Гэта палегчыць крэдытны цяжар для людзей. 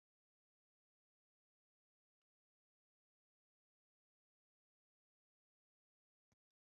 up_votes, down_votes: 1, 2